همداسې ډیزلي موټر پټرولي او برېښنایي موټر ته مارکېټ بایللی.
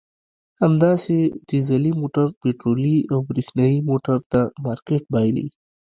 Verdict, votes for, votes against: rejected, 1, 2